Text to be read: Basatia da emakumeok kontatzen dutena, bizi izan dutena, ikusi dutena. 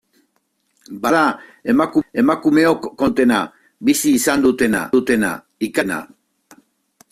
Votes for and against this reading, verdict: 0, 2, rejected